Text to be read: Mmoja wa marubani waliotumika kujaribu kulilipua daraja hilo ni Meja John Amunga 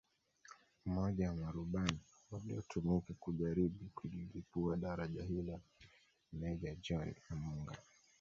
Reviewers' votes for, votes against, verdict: 0, 2, rejected